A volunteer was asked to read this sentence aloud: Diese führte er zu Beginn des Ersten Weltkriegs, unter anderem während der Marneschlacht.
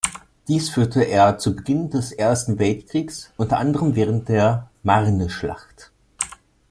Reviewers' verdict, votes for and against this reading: rejected, 0, 2